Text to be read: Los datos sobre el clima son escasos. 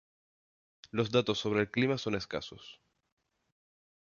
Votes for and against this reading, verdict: 2, 0, accepted